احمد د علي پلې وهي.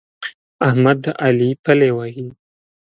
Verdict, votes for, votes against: rejected, 1, 2